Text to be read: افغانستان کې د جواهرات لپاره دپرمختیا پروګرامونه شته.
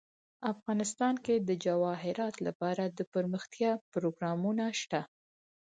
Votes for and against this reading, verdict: 4, 0, accepted